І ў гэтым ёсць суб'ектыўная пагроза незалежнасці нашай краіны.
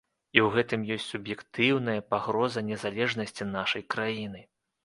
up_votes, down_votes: 2, 0